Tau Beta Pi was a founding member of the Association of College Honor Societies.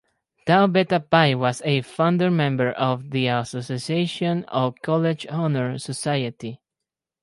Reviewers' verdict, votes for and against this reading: rejected, 0, 4